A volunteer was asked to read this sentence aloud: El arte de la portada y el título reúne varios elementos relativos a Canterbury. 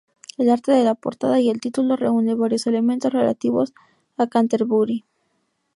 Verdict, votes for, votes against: accepted, 2, 0